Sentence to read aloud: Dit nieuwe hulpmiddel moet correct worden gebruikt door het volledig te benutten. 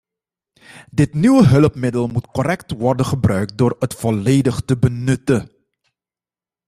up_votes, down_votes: 2, 0